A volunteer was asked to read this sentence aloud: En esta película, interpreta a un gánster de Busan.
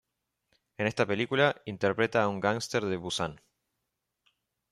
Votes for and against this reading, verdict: 0, 2, rejected